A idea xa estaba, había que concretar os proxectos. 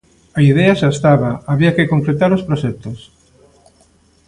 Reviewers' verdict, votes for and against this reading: accepted, 2, 1